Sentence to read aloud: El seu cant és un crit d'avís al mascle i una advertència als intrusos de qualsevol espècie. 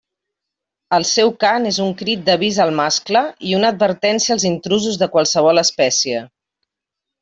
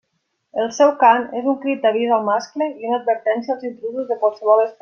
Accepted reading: first